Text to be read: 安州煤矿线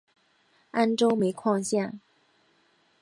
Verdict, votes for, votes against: accepted, 2, 1